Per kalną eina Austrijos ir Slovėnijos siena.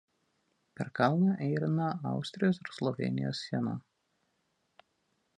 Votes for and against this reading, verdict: 2, 1, accepted